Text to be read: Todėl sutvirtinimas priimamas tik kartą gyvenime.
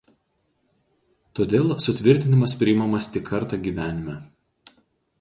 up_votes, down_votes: 2, 0